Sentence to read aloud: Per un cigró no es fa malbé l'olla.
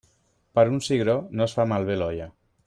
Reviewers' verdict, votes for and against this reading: accepted, 2, 0